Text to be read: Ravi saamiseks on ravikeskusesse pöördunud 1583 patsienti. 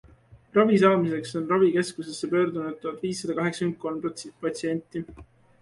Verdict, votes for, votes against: rejected, 0, 2